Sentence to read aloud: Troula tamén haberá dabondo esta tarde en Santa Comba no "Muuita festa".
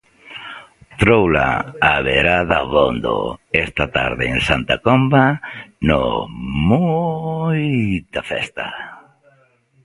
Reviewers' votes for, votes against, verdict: 0, 2, rejected